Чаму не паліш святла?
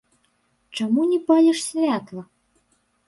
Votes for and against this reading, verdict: 0, 2, rejected